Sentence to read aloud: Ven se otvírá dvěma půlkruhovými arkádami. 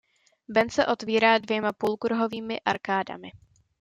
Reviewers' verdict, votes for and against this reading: accepted, 2, 0